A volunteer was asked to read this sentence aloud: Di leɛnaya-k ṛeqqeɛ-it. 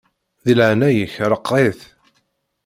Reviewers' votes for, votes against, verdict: 2, 0, accepted